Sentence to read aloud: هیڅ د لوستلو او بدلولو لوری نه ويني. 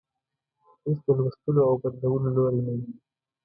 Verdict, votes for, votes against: accepted, 2, 0